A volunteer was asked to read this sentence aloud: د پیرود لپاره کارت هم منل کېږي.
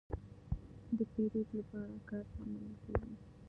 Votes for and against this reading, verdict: 0, 2, rejected